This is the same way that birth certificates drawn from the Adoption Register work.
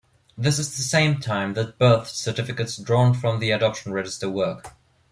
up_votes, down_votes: 1, 2